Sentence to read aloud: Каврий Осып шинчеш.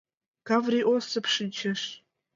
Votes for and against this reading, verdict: 2, 0, accepted